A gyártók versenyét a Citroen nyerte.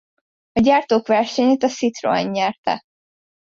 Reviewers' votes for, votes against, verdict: 2, 0, accepted